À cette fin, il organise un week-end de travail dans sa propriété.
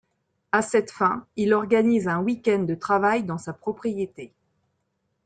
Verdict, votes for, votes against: accepted, 2, 0